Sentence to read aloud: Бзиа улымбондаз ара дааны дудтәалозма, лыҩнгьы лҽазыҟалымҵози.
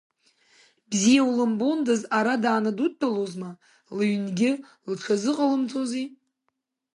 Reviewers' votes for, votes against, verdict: 2, 0, accepted